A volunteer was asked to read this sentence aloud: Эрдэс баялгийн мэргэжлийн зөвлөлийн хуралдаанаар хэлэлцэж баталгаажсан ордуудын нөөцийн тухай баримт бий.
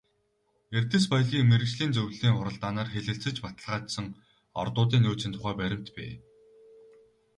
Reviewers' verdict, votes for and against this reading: rejected, 2, 2